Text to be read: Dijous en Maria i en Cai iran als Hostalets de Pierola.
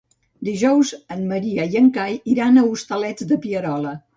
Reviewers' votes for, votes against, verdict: 2, 1, accepted